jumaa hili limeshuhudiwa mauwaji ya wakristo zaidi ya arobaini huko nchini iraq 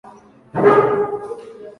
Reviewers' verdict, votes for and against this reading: rejected, 0, 9